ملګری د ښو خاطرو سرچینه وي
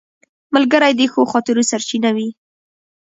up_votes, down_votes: 0, 2